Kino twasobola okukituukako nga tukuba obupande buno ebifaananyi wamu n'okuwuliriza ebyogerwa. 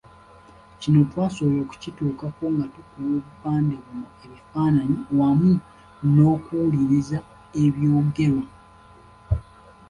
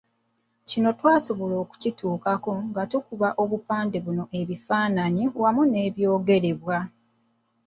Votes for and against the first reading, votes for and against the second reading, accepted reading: 2, 0, 0, 2, first